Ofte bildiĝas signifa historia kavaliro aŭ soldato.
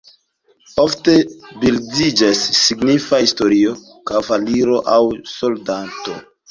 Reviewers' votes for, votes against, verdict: 1, 2, rejected